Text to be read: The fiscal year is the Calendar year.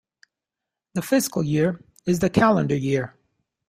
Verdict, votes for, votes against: accepted, 2, 0